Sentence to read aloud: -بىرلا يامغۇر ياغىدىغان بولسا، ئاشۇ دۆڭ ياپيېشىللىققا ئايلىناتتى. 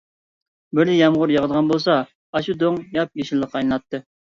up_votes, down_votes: 1, 2